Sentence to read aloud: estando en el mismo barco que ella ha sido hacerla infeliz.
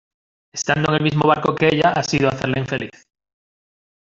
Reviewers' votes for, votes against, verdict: 0, 2, rejected